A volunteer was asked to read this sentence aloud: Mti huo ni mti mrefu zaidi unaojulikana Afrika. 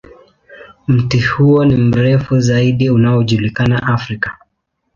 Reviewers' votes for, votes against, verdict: 0, 2, rejected